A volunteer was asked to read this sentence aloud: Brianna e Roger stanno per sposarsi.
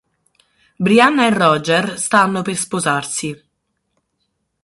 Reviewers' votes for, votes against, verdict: 6, 0, accepted